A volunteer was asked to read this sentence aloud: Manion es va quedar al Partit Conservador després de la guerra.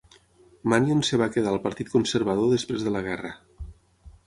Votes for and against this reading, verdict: 6, 0, accepted